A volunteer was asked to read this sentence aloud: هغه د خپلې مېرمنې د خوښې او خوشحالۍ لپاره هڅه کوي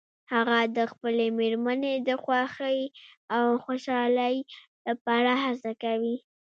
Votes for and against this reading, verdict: 1, 2, rejected